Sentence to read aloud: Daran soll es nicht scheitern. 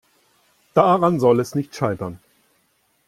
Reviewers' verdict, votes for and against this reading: accepted, 2, 0